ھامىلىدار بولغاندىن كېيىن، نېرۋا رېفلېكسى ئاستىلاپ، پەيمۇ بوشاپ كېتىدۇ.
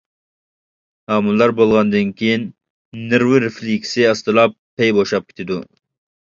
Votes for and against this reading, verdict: 1, 2, rejected